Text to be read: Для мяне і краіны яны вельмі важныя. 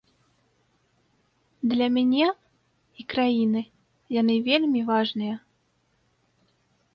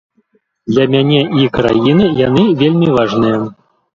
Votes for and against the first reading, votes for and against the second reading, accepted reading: 2, 0, 0, 2, first